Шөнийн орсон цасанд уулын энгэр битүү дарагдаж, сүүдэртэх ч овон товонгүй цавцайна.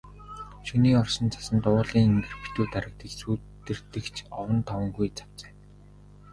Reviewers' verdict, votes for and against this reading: rejected, 2, 3